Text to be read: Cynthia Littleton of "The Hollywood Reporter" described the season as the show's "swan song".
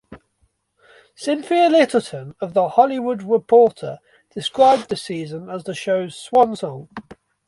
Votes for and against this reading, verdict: 2, 0, accepted